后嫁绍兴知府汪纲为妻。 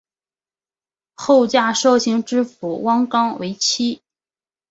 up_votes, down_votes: 4, 0